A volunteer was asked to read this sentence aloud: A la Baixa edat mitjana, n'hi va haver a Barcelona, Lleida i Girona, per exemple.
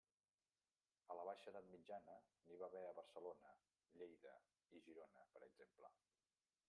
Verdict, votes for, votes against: rejected, 0, 2